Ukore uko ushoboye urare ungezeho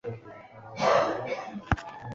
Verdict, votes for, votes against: rejected, 1, 2